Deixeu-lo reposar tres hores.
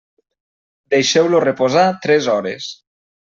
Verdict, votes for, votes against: accepted, 3, 0